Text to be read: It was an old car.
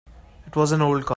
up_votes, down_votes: 0, 2